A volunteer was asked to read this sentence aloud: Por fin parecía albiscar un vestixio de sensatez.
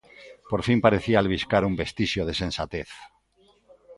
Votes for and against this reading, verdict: 1, 2, rejected